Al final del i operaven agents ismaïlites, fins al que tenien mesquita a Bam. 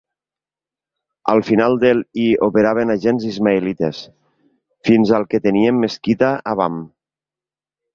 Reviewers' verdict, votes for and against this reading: accepted, 2, 0